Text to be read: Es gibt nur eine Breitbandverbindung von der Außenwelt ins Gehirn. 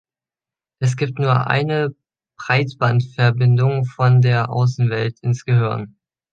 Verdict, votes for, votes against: accepted, 2, 0